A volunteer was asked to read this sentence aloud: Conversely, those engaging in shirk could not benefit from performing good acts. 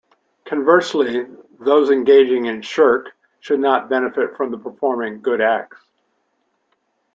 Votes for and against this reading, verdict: 1, 2, rejected